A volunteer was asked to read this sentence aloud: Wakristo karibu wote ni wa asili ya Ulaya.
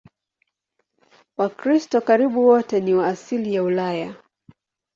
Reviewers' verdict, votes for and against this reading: accepted, 2, 0